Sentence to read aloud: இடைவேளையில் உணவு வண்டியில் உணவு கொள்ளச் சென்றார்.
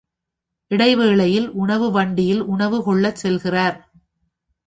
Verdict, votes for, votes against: rejected, 1, 2